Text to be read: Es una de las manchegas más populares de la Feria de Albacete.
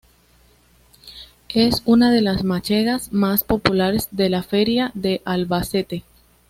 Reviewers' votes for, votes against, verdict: 1, 2, rejected